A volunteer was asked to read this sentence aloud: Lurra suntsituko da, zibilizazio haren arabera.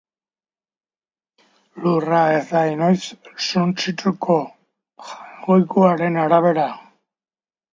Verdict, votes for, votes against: accepted, 2, 1